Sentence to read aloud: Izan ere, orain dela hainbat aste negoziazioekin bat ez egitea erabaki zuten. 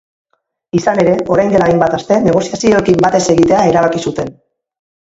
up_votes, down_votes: 2, 4